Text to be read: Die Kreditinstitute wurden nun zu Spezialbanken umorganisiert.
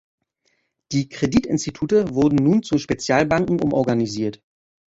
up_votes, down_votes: 2, 0